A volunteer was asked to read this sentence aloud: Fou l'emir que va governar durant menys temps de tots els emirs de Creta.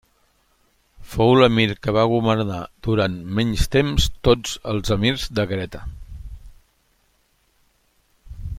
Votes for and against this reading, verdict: 1, 2, rejected